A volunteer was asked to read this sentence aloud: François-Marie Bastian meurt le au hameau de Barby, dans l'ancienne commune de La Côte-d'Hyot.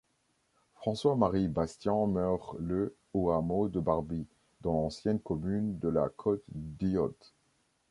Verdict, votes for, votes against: accepted, 2, 0